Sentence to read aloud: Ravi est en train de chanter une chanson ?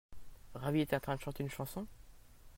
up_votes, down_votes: 2, 0